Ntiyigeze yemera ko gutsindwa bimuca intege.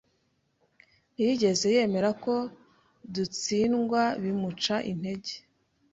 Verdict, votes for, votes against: rejected, 0, 2